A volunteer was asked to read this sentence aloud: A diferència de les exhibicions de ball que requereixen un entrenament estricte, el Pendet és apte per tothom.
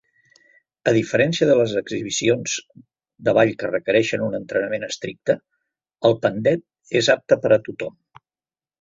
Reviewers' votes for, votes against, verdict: 1, 2, rejected